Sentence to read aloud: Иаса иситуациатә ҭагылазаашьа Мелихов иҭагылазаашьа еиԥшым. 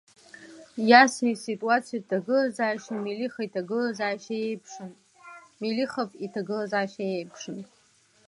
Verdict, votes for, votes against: rejected, 0, 2